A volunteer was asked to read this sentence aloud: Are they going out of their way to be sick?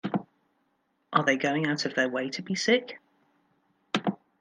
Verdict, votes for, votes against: accepted, 2, 1